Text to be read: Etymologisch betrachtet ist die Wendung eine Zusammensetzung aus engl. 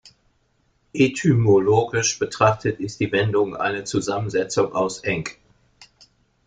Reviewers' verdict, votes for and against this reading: rejected, 0, 2